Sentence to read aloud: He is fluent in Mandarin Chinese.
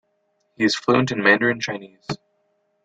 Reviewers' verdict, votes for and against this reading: accepted, 2, 0